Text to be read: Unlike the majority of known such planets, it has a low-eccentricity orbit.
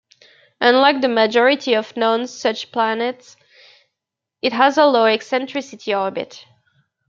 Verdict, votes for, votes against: accepted, 2, 0